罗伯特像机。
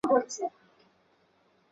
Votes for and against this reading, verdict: 1, 2, rejected